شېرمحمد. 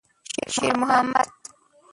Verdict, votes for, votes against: rejected, 0, 2